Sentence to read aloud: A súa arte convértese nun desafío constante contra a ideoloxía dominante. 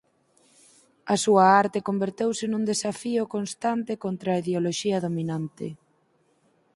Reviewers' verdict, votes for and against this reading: rejected, 2, 4